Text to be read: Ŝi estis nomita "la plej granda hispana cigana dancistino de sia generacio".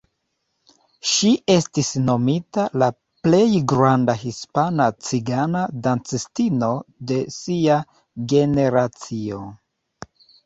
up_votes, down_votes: 2, 0